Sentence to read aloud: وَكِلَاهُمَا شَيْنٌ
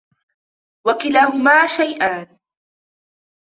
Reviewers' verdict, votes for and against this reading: rejected, 0, 2